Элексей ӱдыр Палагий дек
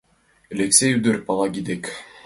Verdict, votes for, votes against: accepted, 2, 0